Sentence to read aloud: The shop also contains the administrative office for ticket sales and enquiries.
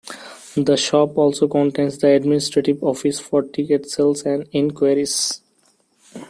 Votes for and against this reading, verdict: 2, 0, accepted